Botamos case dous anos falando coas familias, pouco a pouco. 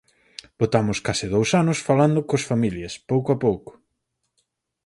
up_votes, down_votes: 4, 0